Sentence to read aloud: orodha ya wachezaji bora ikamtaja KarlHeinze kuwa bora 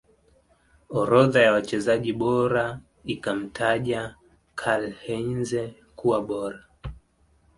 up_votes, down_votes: 2, 0